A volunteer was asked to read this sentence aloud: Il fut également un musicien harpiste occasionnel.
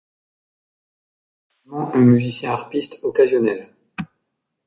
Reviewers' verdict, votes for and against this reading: rejected, 0, 2